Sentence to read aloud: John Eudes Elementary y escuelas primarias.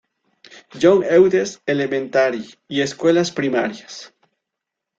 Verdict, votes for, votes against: accepted, 2, 0